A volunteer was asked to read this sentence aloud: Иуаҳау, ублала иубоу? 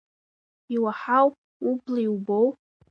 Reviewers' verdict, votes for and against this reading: rejected, 0, 2